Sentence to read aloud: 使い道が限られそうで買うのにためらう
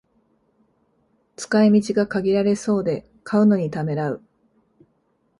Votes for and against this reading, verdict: 3, 0, accepted